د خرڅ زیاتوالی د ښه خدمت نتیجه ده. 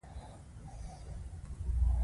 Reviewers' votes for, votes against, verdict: 2, 0, accepted